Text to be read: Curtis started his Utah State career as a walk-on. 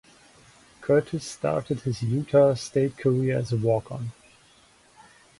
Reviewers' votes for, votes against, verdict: 0, 2, rejected